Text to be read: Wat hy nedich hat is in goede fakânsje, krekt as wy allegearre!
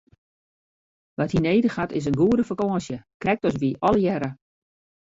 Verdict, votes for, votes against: accepted, 2, 0